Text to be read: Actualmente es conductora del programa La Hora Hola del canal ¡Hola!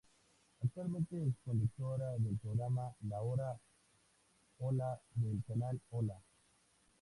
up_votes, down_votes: 2, 0